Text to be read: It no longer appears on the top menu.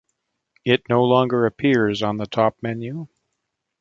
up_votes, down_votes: 0, 2